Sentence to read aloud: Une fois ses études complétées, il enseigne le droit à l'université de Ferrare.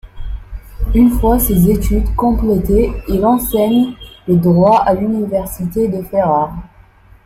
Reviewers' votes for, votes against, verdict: 1, 2, rejected